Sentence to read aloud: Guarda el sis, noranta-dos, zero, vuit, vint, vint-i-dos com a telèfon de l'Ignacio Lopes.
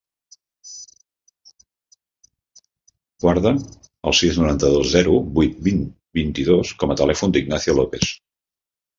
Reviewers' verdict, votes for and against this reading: rejected, 0, 2